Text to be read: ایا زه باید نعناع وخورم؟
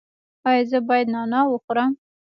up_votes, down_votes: 0, 2